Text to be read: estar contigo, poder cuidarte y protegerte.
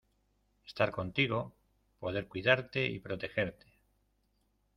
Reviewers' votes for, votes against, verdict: 2, 0, accepted